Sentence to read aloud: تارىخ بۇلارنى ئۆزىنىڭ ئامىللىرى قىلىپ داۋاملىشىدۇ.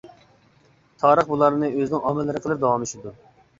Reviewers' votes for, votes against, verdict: 2, 0, accepted